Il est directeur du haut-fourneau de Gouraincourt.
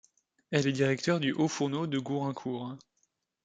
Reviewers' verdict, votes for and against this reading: rejected, 0, 2